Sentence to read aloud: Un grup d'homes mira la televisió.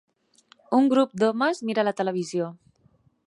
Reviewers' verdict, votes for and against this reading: accepted, 4, 0